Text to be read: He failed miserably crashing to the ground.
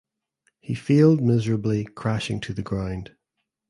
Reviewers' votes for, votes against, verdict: 2, 1, accepted